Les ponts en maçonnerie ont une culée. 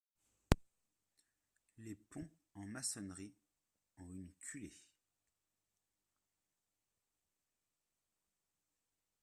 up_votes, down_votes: 2, 1